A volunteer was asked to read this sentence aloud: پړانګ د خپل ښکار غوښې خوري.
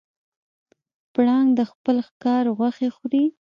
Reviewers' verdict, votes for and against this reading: rejected, 1, 2